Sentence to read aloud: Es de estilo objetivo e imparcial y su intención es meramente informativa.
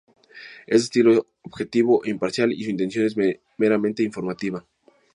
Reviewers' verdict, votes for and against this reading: rejected, 0, 2